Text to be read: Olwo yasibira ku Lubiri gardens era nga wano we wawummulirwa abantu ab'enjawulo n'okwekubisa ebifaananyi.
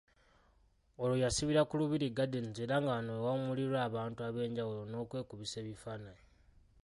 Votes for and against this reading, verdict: 0, 2, rejected